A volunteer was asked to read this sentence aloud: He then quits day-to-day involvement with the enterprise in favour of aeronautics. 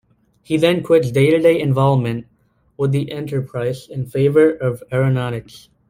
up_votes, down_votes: 1, 2